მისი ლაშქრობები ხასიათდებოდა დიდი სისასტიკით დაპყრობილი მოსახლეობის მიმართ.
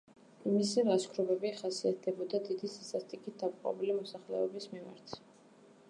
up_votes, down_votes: 2, 0